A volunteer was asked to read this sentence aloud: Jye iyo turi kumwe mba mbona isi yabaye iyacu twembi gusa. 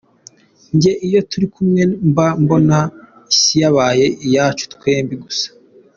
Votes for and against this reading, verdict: 2, 0, accepted